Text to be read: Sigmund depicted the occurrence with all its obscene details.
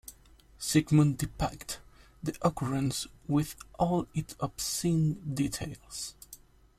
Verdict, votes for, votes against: accepted, 2, 0